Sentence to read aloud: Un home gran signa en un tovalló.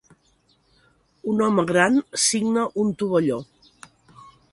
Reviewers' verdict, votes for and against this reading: rejected, 1, 2